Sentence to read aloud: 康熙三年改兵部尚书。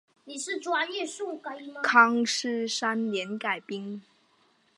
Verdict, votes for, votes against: rejected, 0, 2